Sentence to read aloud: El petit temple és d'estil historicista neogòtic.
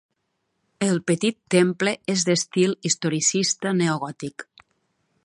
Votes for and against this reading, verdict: 2, 0, accepted